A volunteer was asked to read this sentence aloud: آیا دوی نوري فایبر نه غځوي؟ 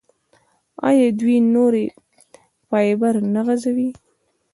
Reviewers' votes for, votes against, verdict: 2, 0, accepted